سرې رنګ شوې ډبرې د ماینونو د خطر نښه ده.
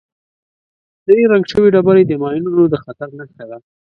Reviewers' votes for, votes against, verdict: 2, 0, accepted